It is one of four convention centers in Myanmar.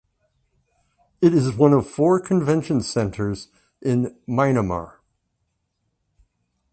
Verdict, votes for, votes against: rejected, 1, 2